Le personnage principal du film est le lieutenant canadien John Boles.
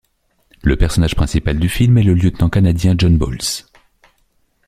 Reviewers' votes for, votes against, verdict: 2, 0, accepted